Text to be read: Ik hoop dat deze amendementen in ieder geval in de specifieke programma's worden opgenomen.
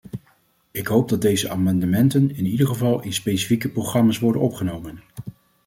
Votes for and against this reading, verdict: 1, 2, rejected